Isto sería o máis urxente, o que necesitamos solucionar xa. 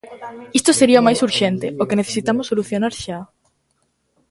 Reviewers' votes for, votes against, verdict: 1, 2, rejected